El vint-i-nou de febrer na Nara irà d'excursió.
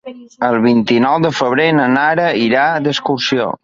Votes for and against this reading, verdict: 2, 0, accepted